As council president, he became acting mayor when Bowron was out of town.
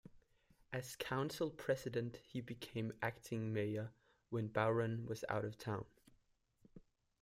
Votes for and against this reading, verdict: 0, 2, rejected